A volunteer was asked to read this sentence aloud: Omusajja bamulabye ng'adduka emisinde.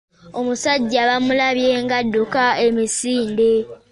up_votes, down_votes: 2, 0